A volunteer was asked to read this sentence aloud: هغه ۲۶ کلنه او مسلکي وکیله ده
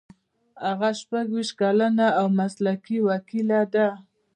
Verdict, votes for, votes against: rejected, 0, 2